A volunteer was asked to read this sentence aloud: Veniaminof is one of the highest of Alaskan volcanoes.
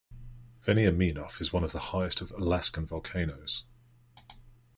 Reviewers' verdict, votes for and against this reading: accepted, 2, 0